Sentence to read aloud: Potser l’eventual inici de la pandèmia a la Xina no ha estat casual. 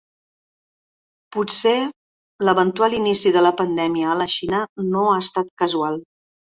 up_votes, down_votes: 3, 0